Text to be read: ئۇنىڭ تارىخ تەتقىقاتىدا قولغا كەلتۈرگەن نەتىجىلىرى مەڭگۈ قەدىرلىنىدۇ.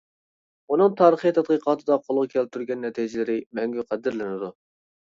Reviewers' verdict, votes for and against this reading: rejected, 0, 2